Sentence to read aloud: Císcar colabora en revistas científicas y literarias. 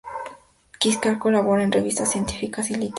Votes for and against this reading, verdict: 0, 2, rejected